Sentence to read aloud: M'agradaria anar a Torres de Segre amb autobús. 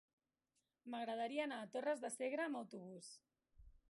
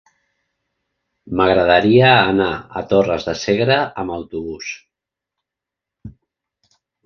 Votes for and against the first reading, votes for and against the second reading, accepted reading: 1, 2, 4, 0, second